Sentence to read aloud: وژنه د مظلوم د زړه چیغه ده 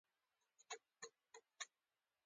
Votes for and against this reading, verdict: 2, 1, accepted